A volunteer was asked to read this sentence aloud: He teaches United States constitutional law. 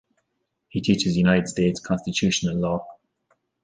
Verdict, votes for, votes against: rejected, 1, 2